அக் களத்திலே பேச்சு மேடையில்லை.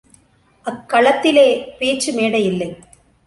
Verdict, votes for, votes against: accepted, 3, 0